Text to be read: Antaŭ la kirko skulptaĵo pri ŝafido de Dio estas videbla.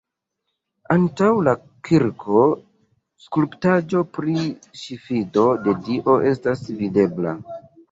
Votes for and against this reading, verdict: 0, 2, rejected